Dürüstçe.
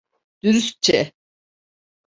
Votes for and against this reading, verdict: 2, 0, accepted